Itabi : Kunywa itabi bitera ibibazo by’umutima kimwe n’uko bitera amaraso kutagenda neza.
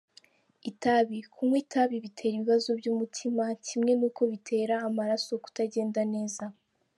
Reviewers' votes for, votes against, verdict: 2, 0, accepted